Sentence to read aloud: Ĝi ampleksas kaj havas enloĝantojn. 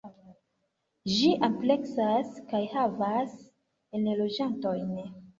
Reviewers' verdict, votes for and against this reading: accepted, 2, 1